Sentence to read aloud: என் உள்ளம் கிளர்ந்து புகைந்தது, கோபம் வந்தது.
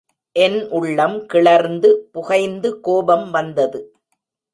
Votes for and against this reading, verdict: 1, 2, rejected